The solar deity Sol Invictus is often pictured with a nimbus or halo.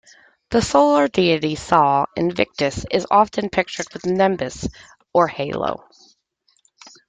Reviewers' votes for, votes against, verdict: 2, 1, accepted